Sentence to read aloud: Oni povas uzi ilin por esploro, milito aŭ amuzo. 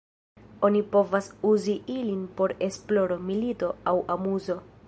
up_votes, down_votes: 0, 2